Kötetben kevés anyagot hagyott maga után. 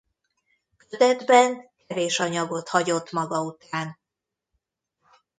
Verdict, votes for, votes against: rejected, 1, 2